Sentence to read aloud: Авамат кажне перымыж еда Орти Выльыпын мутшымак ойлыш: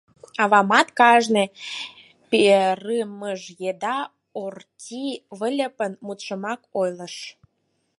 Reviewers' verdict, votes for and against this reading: rejected, 4, 6